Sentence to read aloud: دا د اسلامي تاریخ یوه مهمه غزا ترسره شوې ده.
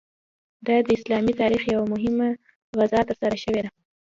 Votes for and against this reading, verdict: 2, 0, accepted